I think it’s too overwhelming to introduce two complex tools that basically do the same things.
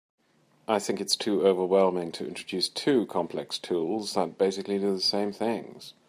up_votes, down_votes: 2, 0